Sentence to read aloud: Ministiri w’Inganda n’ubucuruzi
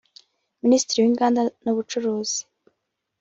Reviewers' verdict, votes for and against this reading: accepted, 2, 1